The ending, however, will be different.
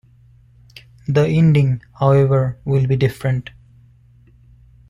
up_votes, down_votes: 2, 1